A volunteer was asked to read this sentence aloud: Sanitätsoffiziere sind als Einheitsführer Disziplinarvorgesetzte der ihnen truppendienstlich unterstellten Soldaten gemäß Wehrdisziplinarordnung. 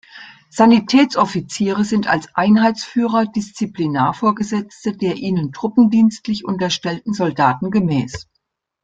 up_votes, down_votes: 0, 2